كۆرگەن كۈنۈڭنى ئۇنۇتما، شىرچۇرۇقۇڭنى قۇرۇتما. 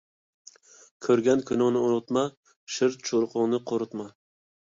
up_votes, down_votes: 2, 0